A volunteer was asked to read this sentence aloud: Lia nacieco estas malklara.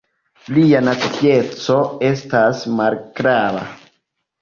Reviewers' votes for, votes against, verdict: 1, 2, rejected